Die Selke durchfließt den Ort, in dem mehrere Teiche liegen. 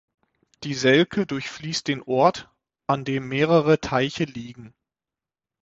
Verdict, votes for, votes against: rejected, 0, 6